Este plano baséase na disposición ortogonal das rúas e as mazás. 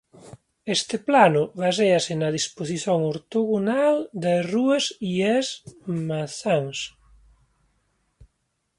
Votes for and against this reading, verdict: 1, 2, rejected